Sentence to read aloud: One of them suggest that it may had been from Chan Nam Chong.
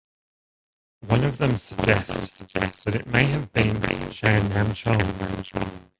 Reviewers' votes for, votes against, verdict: 0, 2, rejected